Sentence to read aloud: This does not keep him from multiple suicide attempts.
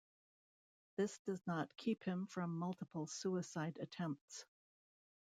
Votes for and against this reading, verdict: 2, 0, accepted